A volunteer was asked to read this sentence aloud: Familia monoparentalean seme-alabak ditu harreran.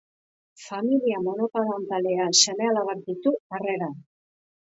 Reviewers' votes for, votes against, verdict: 1, 2, rejected